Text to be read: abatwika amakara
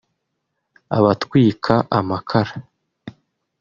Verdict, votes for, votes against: rejected, 1, 2